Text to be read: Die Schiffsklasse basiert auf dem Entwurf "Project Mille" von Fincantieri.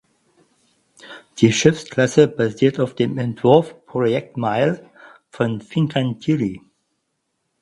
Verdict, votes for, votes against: rejected, 0, 4